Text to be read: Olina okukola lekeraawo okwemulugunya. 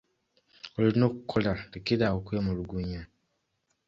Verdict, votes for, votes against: accepted, 2, 0